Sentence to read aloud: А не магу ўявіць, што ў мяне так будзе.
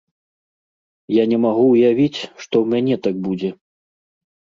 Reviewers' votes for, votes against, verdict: 0, 2, rejected